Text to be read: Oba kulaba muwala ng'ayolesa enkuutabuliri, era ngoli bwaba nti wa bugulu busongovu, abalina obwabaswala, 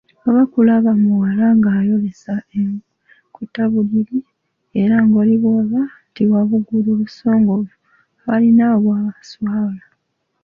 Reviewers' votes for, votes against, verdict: 0, 2, rejected